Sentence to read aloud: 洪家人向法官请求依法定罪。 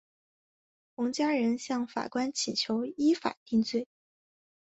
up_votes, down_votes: 3, 0